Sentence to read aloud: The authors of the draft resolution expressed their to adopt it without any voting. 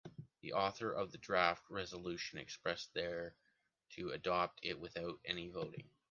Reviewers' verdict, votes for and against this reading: rejected, 1, 2